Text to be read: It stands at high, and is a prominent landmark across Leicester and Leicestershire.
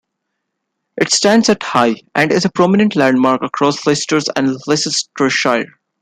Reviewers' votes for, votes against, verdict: 1, 2, rejected